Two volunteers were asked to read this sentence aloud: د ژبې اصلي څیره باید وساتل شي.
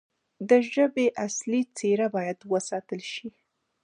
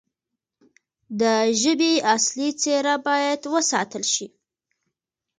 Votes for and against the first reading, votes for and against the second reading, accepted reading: 2, 1, 1, 2, first